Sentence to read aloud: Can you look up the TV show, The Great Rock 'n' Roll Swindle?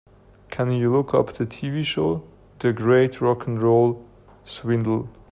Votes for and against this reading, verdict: 2, 0, accepted